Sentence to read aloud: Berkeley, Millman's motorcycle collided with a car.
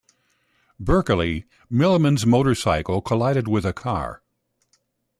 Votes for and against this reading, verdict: 2, 0, accepted